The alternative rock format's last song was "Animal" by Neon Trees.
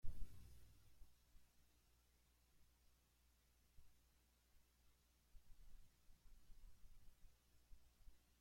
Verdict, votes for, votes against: rejected, 0, 2